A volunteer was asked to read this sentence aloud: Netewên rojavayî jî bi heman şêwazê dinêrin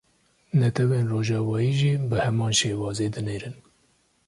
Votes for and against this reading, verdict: 2, 0, accepted